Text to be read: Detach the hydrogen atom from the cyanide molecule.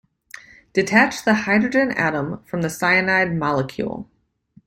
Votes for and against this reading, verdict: 2, 0, accepted